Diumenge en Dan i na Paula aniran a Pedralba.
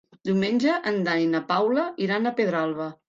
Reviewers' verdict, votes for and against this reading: rejected, 1, 2